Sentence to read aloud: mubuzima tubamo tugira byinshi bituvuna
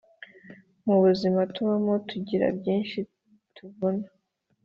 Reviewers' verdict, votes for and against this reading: accepted, 3, 0